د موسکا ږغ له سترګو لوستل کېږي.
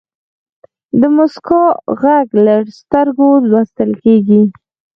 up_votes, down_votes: 4, 0